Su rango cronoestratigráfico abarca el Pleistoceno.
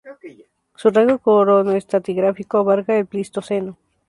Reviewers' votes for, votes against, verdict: 0, 2, rejected